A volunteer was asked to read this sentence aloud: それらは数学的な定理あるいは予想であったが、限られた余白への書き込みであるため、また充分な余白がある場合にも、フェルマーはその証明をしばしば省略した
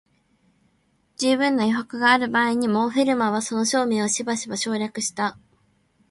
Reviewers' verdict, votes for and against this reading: rejected, 0, 2